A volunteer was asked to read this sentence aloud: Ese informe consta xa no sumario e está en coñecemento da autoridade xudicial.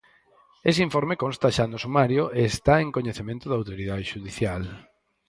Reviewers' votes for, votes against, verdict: 4, 0, accepted